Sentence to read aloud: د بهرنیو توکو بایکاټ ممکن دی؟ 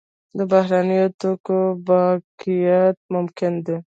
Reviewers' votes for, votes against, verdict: 2, 1, accepted